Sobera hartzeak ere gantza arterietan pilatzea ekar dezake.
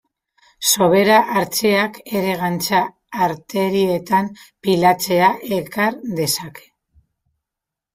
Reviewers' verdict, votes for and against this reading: rejected, 1, 2